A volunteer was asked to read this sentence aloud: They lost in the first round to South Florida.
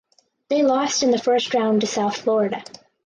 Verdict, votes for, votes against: accepted, 6, 0